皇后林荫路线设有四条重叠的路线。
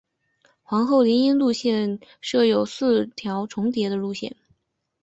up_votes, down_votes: 2, 0